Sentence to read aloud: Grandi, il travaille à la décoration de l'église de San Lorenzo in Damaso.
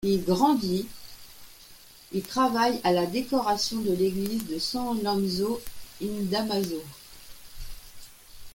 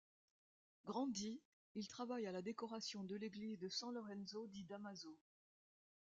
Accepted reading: first